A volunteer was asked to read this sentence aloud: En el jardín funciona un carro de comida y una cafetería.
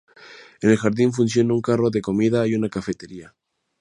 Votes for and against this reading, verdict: 2, 0, accepted